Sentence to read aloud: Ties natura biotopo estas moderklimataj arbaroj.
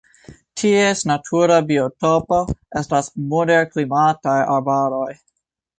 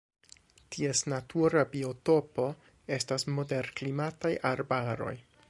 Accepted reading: second